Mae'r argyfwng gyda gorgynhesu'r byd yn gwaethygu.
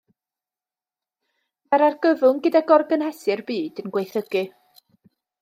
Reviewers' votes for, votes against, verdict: 1, 2, rejected